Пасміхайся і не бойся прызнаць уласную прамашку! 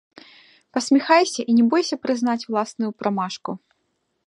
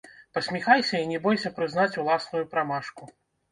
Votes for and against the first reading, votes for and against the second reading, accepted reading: 0, 2, 2, 1, second